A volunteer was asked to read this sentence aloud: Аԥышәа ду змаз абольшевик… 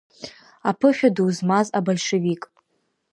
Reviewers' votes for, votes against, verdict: 1, 2, rejected